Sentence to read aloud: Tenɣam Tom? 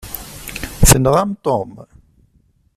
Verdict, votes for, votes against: accepted, 2, 0